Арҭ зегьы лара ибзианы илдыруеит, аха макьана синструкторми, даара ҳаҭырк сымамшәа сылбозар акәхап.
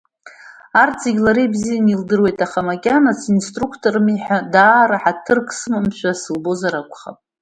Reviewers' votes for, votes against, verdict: 0, 2, rejected